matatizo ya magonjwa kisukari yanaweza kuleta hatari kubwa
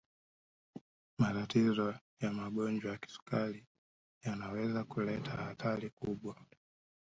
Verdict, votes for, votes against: accepted, 2, 1